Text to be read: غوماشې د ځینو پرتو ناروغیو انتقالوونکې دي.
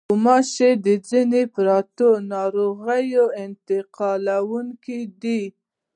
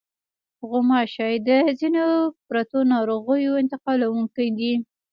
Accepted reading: first